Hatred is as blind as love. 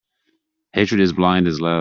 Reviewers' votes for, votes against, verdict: 1, 2, rejected